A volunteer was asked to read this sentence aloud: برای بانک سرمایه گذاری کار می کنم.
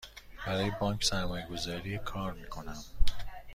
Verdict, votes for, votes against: rejected, 1, 2